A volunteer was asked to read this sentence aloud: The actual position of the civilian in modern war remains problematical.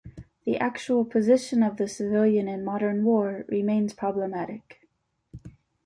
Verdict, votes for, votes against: rejected, 0, 2